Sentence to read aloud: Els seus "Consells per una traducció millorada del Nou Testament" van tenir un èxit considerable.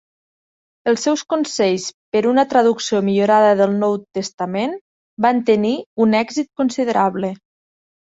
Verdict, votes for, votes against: accepted, 5, 0